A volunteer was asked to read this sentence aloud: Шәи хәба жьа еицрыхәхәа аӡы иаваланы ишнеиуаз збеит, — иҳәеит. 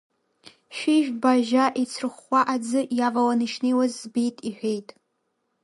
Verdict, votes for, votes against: rejected, 0, 2